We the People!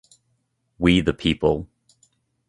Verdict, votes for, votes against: accepted, 3, 0